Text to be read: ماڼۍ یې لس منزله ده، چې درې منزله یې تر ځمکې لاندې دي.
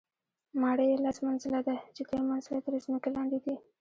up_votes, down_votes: 2, 0